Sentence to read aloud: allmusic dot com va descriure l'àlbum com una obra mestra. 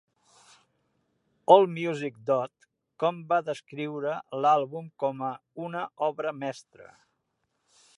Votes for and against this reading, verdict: 1, 2, rejected